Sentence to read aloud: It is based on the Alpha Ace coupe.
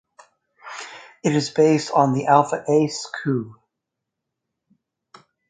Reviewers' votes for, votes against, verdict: 2, 0, accepted